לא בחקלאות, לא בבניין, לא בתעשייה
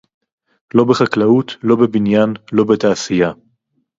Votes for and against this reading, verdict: 2, 2, rejected